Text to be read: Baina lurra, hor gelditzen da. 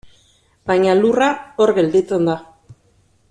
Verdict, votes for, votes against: accepted, 2, 0